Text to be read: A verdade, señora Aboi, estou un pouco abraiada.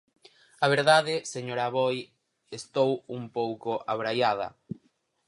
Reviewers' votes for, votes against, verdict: 4, 0, accepted